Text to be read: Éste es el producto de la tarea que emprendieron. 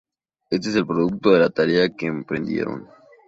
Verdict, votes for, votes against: accepted, 2, 0